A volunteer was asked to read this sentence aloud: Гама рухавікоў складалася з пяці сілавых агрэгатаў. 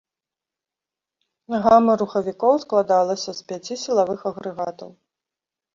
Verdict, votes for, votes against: accepted, 2, 0